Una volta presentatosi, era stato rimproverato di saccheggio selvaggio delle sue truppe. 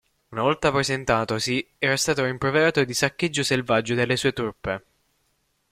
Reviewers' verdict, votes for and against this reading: rejected, 0, 2